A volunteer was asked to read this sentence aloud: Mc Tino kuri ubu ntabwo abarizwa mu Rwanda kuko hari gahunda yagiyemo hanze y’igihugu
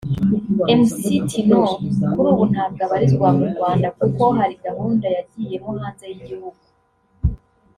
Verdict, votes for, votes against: rejected, 1, 2